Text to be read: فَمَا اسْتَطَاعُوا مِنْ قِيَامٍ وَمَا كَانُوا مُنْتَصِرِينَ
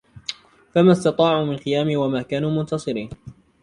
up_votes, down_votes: 2, 1